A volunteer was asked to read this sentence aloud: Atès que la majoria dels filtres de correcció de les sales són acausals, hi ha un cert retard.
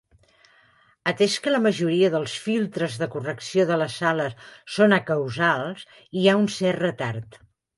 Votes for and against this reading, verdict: 2, 0, accepted